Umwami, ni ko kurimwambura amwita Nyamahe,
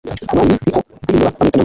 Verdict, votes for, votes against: rejected, 1, 2